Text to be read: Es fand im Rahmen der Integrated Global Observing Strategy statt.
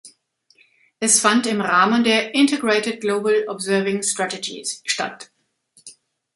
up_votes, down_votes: 1, 2